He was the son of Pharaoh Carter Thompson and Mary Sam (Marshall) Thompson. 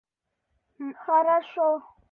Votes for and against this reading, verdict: 0, 2, rejected